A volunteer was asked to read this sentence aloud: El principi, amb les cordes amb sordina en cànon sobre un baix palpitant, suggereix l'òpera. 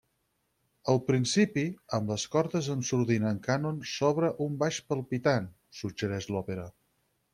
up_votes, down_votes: 4, 0